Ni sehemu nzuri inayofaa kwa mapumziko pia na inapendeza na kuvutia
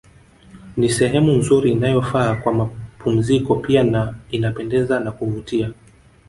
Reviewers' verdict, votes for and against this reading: accepted, 2, 0